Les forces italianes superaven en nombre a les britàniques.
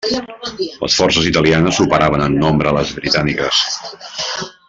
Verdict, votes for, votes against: rejected, 0, 2